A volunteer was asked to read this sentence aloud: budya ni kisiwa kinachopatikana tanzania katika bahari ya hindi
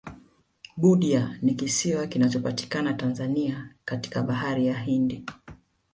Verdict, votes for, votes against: accepted, 2, 0